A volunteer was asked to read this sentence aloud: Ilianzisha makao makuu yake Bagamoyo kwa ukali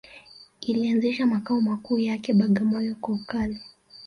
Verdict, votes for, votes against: accepted, 2, 0